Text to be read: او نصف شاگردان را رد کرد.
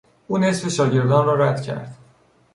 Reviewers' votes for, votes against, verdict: 2, 0, accepted